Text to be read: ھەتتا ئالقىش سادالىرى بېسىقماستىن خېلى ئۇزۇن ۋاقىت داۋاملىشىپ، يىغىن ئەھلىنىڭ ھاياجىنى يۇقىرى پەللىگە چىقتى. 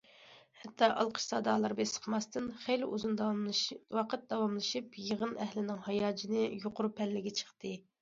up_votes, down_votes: 0, 2